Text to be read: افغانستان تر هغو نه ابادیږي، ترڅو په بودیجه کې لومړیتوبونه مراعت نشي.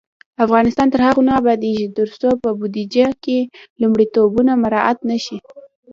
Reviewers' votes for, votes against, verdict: 2, 0, accepted